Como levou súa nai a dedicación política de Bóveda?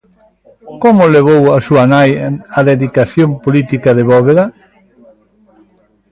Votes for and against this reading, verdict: 1, 2, rejected